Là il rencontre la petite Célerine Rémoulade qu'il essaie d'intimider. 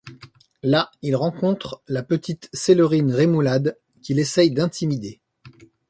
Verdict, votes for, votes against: accepted, 2, 0